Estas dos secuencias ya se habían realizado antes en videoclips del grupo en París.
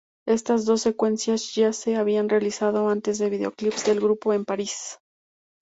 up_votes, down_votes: 2, 0